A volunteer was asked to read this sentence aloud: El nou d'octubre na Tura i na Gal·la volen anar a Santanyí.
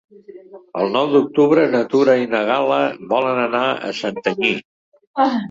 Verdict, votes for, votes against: rejected, 0, 2